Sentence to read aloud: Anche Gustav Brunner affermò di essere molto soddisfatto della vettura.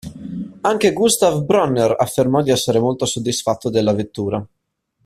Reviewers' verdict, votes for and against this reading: accepted, 2, 1